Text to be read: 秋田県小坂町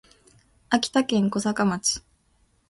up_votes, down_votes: 2, 0